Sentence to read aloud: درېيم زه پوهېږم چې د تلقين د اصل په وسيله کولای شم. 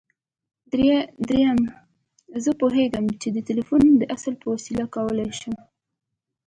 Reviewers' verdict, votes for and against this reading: accepted, 2, 1